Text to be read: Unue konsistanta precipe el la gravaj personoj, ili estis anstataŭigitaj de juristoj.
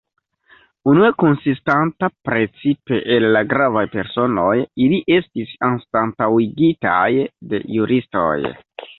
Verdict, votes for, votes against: rejected, 1, 2